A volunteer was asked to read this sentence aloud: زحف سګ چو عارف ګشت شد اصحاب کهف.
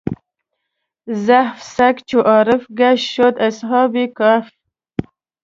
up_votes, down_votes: 0, 2